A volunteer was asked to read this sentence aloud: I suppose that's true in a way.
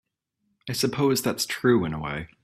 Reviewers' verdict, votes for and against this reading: accepted, 3, 0